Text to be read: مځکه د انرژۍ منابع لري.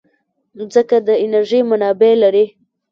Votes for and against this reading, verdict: 0, 2, rejected